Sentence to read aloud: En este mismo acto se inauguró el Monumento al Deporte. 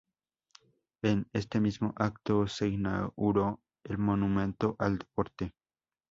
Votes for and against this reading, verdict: 2, 0, accepted